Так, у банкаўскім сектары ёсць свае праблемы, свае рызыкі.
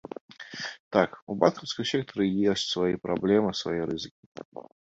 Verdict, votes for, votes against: rejected, 1, 2